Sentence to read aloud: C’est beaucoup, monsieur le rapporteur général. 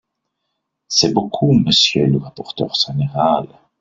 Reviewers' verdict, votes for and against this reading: rejected, 1, 2